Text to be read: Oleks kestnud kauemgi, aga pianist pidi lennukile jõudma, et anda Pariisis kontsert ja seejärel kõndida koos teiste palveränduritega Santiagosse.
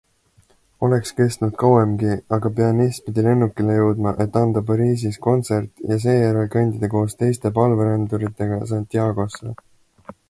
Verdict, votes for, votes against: accepted, 2, 0